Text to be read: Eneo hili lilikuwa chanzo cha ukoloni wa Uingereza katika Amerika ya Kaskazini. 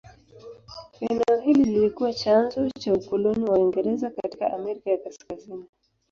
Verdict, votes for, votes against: accepted, 2, 0